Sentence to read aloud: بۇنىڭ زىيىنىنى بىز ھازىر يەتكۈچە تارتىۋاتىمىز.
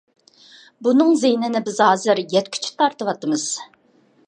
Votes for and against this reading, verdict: 2, 0, accepted